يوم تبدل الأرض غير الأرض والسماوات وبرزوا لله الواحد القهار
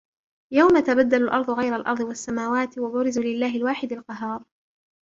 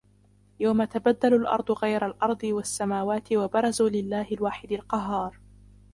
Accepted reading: first